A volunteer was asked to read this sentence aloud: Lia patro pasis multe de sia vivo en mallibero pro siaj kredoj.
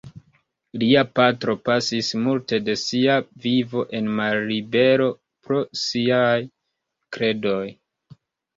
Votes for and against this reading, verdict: 1, 2, rejected